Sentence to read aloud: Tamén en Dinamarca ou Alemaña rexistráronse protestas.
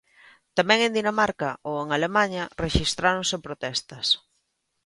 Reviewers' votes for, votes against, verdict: 0, 3, rejected